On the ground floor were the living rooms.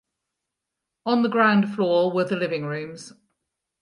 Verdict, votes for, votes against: accepted, 4, 0